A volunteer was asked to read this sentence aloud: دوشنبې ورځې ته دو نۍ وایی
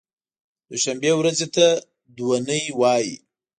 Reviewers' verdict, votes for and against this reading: accepted, 3, 0